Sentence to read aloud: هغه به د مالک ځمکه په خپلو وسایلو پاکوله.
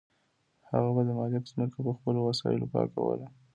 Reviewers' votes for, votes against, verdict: 2, 0, accepted